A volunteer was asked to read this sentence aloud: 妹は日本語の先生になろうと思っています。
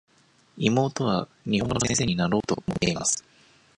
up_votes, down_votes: 1, 2